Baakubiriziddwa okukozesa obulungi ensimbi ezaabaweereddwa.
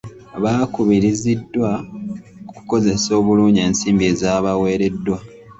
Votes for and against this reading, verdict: 2, 0, accepted